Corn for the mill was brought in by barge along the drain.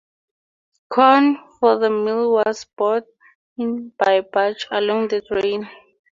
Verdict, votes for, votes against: accepted, 4, 0